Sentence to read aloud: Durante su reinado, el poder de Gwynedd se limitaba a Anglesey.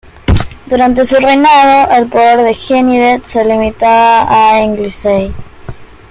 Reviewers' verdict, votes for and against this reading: rejected, 1, 2